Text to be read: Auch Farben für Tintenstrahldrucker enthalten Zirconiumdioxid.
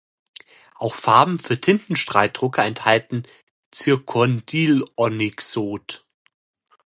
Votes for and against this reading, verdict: 0, 2, rejected